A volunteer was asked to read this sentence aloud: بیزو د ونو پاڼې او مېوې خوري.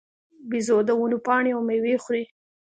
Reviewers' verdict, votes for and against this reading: accepted, 2, 0